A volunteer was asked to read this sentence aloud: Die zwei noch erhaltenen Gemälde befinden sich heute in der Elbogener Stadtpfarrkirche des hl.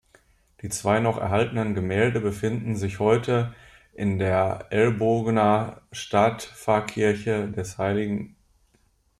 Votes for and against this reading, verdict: 0, 2, rejected